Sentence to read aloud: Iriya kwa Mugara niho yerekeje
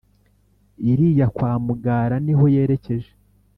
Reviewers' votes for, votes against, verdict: 2, 0, accepted